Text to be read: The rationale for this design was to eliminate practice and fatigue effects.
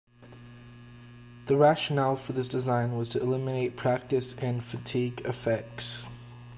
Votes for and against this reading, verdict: 2, 0, accepted